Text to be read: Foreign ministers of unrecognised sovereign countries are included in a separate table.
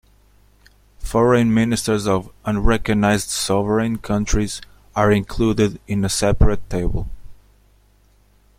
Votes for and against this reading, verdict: 2, 0, accepted